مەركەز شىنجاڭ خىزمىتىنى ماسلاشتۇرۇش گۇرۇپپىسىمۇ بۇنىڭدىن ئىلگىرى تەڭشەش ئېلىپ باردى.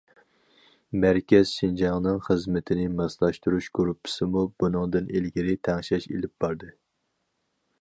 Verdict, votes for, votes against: rejected, 0, 2